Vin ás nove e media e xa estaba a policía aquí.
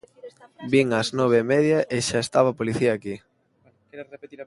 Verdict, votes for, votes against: rejected, 1, 2